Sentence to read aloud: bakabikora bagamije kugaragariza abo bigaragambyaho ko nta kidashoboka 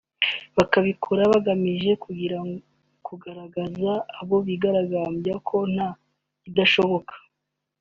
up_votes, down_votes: 3, 2